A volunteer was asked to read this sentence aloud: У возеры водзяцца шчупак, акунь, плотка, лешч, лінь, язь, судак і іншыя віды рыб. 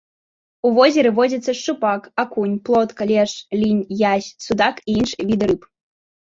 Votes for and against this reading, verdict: 0, 2, rejected